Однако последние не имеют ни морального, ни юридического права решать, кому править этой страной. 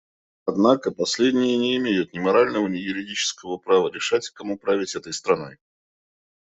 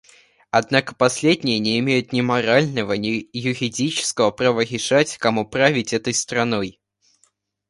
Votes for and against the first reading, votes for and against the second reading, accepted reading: 2, 0, 1, 2, first